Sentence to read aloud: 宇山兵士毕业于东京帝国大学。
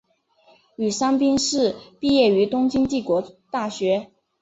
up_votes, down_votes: 3, 0